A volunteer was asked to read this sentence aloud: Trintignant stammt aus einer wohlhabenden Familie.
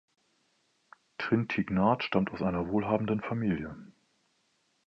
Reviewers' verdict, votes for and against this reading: rejected, 1, 2